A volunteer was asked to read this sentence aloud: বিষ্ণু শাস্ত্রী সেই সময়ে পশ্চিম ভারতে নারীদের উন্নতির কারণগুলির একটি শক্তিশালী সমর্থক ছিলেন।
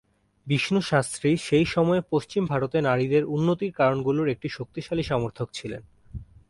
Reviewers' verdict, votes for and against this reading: accepted, 2, 0